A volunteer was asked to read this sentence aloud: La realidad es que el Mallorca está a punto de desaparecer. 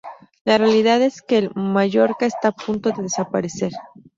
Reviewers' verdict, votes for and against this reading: accepted, 2, 0